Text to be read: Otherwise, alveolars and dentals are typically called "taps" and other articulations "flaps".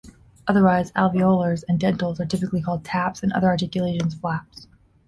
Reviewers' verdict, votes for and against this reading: accepted, 2, 0